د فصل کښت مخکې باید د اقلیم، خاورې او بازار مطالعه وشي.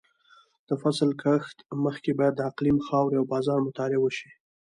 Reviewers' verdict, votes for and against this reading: rejected, 1, 2